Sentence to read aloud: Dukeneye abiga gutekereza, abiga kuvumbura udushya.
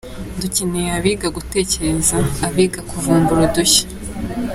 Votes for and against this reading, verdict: 2, 0, accepted